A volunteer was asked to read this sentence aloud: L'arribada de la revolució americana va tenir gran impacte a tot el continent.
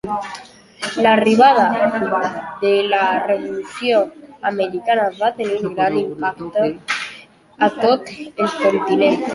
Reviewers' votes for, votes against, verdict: 2, 1, accepted